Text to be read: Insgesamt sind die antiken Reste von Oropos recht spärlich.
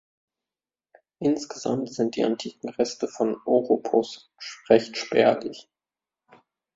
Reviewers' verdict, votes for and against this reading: rejected, 1, 2